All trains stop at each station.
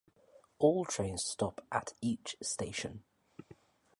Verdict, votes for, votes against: accepted, 4, 0